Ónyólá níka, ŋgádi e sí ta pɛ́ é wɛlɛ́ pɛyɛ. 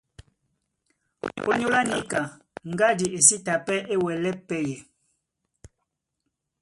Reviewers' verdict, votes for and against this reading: rejected, 1, 2